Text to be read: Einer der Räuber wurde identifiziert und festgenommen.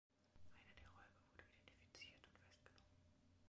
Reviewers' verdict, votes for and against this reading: rejected, 2, 3